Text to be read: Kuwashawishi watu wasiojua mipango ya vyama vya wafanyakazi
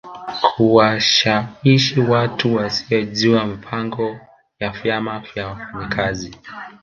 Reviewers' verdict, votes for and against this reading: rejected, 1, 2